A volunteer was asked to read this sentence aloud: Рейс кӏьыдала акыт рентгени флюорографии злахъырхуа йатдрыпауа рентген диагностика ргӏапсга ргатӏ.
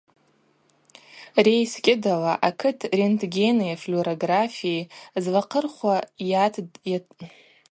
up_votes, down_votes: 0, 2